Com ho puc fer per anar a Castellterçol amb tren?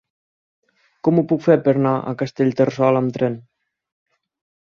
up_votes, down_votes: 6, 2